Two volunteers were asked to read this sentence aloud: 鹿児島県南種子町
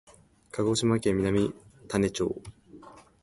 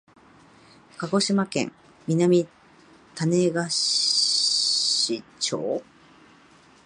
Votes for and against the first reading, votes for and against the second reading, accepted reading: 3, 2, 1, 2, first